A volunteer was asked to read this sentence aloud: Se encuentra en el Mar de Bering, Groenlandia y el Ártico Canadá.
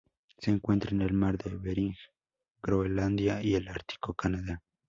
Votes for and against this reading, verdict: 2, 2, rejected